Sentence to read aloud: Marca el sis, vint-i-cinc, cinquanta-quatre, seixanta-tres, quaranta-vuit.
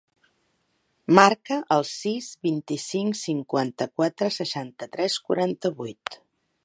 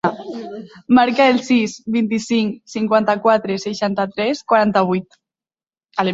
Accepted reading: first